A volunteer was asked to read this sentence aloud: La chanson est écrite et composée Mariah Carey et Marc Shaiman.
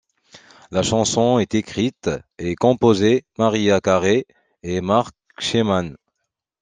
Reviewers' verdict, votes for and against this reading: accepted, 2, 1